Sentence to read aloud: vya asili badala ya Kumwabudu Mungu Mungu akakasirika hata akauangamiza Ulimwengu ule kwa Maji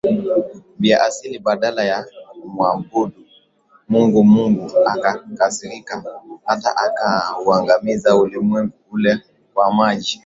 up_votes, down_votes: 3, 1